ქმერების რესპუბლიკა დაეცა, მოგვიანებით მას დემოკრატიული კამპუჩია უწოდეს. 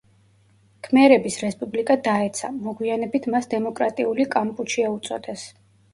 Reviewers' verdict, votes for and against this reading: accepted, 2, 0